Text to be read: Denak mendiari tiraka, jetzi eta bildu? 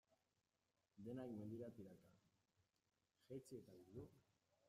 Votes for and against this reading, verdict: 0, 2, rejected